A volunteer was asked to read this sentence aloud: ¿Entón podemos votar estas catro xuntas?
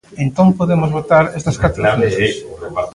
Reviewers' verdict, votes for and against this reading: rejected, 0, 2